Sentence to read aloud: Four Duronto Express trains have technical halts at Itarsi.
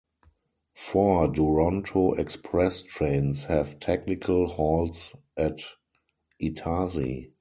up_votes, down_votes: 4, 0